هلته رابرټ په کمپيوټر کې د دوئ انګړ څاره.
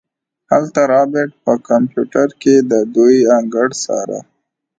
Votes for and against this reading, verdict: 0, 2, rejected